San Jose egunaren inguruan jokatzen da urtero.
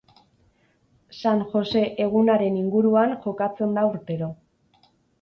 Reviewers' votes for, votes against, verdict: 4, 0, accepted